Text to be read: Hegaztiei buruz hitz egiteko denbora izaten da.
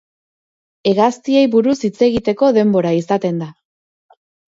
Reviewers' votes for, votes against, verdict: 0, 2, rejected